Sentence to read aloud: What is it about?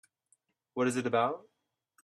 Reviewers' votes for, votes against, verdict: 3, 0, accepted